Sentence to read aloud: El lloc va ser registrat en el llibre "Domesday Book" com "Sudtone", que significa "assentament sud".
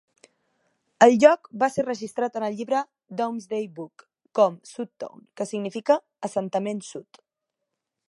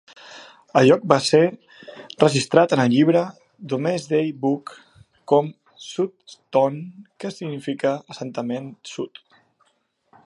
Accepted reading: first